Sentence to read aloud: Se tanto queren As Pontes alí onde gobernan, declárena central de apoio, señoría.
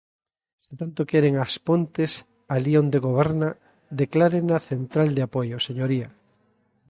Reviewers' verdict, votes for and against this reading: rejected, 0, 2